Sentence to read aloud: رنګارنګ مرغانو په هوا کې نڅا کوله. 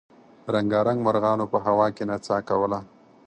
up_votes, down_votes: 4, 0